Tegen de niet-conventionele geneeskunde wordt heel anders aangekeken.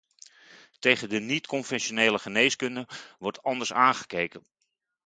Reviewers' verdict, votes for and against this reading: rejected, 0, 2